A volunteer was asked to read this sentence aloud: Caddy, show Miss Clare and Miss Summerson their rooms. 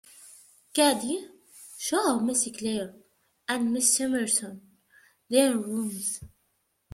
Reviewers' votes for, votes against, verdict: 1, 2, rejected